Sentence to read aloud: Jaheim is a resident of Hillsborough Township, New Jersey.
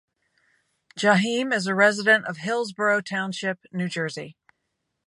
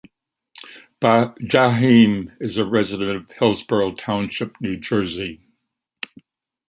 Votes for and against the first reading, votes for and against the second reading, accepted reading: 2, 0, 1, 2, first